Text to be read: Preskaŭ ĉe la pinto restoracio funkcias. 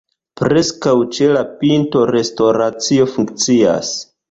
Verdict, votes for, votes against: accepted, 2, 0